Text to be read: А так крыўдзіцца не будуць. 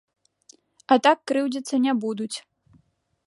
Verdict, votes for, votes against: accepted, 2, 0